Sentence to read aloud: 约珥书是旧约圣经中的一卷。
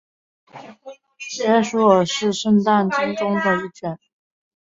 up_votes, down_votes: 1, 3